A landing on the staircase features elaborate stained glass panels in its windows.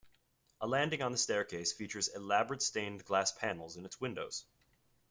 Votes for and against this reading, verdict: 2, 0, accepted